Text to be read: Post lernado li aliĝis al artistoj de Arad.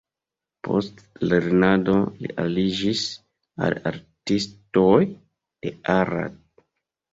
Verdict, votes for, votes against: accepted, 3, 0